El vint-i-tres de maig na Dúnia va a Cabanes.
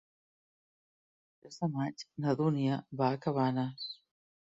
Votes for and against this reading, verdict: 1, 2, rejected